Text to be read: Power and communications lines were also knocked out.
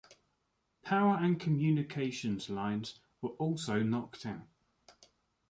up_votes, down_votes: 1, 2